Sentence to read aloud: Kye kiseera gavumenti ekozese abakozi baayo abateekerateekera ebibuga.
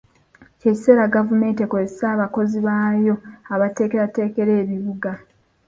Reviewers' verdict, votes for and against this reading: accepted, 2, 0